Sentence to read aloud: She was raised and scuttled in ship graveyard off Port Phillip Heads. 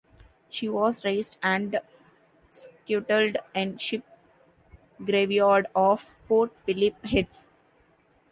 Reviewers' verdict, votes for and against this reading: rejected, 1, 2